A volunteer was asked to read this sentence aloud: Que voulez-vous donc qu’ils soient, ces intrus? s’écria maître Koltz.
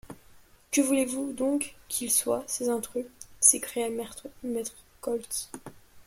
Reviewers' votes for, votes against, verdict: 1, 2, rejected